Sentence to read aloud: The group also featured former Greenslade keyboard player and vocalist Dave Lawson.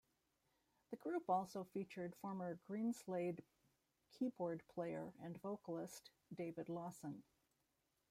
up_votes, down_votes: 0, 2